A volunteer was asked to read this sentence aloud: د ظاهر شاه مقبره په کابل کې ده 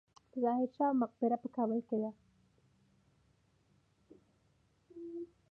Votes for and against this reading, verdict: 1, 2, rejected